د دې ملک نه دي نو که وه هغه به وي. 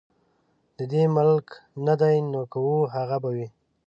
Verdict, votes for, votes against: rejected, 1, 2